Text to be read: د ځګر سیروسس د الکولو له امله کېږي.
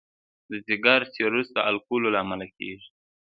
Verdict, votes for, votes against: accepted, 2, 0